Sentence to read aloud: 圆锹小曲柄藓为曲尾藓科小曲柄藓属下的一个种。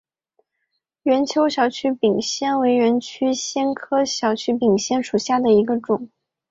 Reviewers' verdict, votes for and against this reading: accepted, 3, 0